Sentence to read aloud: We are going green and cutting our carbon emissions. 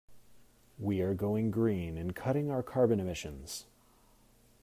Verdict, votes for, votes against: accepted, 2, 0